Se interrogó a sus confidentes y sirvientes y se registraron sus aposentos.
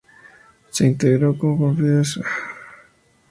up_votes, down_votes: 0, 2